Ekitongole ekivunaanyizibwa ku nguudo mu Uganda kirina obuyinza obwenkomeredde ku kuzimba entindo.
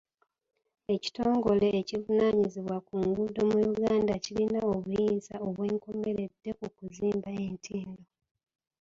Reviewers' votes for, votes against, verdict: 1, 2, rejected